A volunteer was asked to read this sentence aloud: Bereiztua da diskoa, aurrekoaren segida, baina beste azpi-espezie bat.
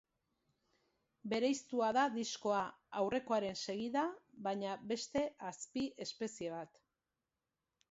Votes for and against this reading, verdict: 2, 0, accepted